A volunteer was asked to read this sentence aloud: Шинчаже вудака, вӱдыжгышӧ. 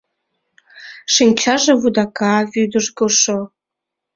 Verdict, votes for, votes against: rejected, 1, 2